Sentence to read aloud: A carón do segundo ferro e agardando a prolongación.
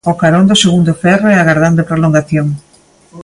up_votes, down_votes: 2, 0